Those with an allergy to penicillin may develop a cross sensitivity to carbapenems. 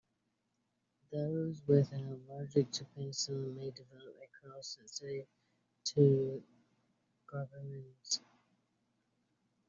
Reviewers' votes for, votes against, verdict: 0, 2, rejected